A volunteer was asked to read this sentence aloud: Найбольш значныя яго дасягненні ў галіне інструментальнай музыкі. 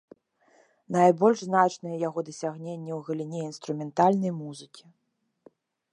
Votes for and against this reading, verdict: 2, 0, accepted